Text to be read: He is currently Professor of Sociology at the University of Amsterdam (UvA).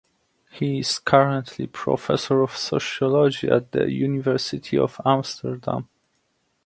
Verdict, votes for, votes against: accepted, 2, 0